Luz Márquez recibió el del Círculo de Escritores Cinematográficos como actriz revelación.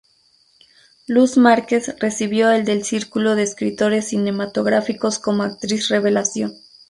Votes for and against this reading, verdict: 2, 0, accepted